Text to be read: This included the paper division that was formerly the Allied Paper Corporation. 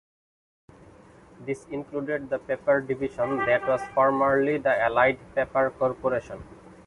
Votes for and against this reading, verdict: 1, 2, rejected